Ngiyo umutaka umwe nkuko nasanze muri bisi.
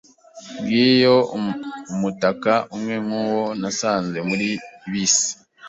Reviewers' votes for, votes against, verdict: 1, 3, rejected